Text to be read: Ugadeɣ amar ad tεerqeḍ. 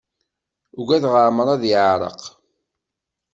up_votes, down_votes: 1, 2